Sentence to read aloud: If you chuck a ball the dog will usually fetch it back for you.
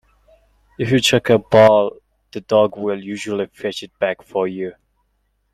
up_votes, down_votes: 1, 2